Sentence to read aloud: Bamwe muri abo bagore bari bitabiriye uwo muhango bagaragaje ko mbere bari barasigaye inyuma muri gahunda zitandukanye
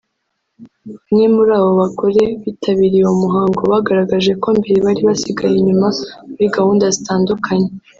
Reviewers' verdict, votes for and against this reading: rejected, 1, 2